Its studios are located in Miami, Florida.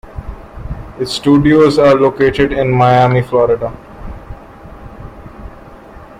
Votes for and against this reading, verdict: 2, 0, accepted